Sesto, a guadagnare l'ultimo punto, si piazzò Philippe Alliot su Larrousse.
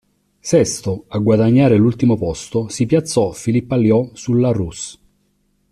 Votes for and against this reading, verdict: 2, 3, rejected